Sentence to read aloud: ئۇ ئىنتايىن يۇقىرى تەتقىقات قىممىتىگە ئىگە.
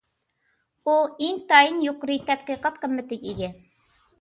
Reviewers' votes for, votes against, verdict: 2, 0, accepted